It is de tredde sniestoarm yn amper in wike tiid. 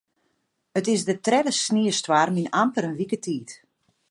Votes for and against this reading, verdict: 2, 0, accepted